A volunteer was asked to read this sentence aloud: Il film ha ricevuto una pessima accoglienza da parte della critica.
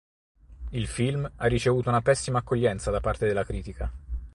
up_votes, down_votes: 4, 0